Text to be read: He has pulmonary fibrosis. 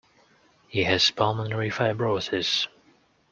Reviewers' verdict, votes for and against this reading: accepted, 2, 0